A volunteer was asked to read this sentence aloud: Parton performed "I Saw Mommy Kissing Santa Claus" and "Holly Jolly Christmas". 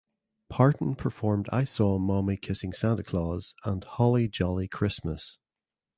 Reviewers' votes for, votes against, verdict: 2, 0, accepted